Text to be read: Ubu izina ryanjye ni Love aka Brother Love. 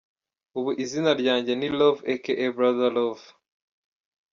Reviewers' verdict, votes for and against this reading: accepted, 2, 0